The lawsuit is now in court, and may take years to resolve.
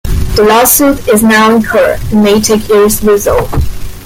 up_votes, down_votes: 0, 2